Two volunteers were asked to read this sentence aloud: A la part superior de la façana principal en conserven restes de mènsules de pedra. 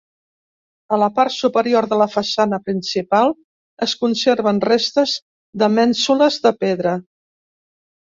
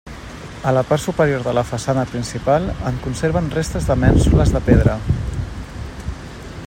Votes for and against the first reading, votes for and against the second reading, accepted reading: 1, 3, 2, 0, second